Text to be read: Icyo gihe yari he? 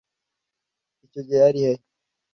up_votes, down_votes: 2, 0